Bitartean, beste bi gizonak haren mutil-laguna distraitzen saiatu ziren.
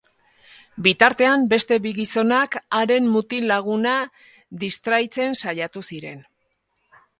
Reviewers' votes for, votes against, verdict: 2, 0, accepted